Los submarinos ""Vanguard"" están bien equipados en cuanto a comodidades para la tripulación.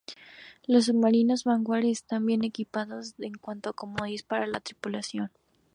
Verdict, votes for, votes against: rejected, 0, 4